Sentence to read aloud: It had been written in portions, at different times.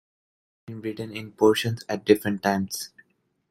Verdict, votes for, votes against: rejected, 1, 2